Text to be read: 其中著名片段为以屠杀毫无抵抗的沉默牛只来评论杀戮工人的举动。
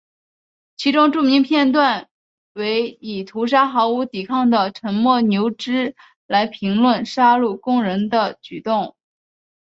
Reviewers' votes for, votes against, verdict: 3, 0, accepted